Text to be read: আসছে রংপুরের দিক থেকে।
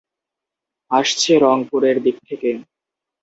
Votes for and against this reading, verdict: 2, 0, accepted